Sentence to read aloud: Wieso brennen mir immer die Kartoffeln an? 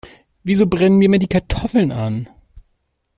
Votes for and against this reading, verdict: 2, 0, accepted